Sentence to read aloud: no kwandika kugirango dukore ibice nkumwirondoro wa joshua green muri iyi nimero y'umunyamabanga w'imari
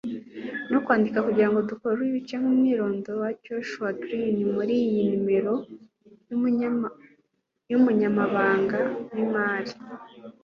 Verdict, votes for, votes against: rejected, 0, 2